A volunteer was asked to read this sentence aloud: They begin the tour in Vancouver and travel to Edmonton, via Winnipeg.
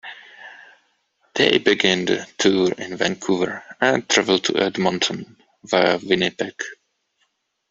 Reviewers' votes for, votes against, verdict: 2, 0, accepted